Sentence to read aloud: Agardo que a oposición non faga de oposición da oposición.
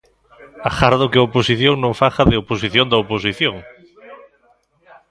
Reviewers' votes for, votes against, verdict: 2, 0, accepted